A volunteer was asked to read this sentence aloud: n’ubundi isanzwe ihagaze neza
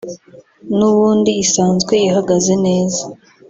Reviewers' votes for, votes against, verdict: 0, 2, rejected